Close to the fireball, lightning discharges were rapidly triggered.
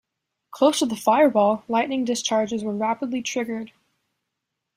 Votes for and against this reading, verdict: 2, 0, accepted